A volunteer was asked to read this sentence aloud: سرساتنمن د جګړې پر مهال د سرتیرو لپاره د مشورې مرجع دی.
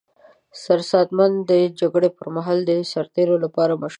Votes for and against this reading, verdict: 0, 2, rejected